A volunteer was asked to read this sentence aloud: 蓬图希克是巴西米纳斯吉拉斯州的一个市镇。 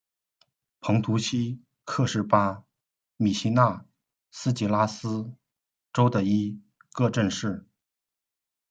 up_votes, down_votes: 0, 2